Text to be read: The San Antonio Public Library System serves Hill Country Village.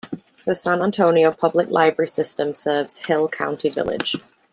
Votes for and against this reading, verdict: 0, 2, rejected